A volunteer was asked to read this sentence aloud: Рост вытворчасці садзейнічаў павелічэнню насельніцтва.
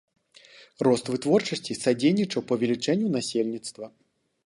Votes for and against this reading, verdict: 2, 0, accepted